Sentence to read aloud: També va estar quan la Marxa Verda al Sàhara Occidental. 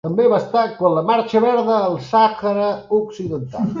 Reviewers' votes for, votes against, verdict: 1, 2, rejected